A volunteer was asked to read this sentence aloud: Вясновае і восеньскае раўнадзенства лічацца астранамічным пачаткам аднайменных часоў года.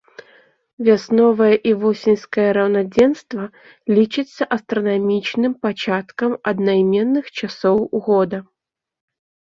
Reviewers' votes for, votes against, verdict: 2, 0, accepted